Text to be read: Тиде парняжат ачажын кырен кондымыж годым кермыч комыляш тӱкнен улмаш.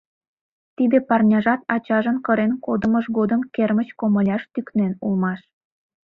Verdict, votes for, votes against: rejected, 1, 2